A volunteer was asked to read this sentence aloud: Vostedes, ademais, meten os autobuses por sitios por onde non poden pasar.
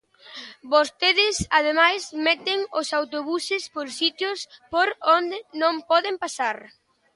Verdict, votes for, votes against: accepted, 2, 0